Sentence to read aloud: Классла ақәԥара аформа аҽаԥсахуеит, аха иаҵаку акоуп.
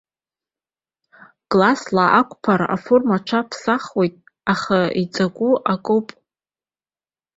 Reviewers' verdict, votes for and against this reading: accepted, 2, 1